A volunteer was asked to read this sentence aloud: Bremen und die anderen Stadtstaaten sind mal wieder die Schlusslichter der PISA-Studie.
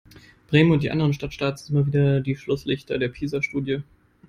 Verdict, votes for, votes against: rejected, 0, 2